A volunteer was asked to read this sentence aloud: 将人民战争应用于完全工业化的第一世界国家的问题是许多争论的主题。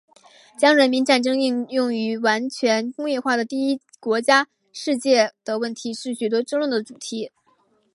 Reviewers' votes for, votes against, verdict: 3, 2, accepted